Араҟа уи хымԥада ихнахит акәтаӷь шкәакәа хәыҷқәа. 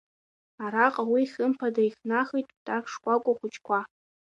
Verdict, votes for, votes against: accepted, 2, 0